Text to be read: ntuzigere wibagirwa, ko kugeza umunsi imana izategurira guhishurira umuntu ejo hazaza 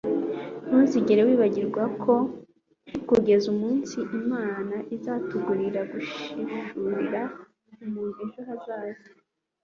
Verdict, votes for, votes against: accepted, 2, 0